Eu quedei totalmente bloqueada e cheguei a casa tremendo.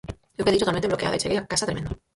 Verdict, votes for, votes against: rejected, 0, 4